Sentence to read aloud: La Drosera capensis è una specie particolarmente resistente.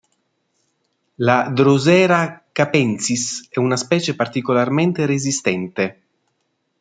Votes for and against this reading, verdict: 2, 0, accepted